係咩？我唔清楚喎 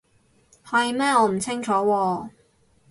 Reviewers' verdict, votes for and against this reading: accepted, 4, 0